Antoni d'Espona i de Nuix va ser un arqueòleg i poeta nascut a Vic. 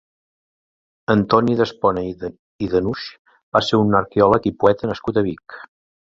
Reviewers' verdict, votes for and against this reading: rejected, 1, 2